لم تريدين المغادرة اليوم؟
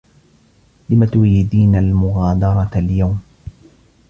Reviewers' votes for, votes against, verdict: 0, 2, rejected